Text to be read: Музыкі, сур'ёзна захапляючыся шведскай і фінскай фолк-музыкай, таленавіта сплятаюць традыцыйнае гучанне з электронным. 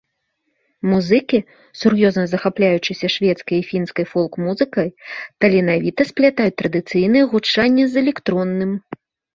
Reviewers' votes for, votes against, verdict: 2, 0, accepted